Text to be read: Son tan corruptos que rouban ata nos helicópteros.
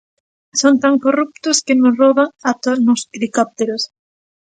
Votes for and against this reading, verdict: 0, 2, rejected